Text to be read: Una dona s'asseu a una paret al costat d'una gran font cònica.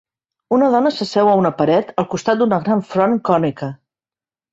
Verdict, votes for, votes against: rejected, 1, 3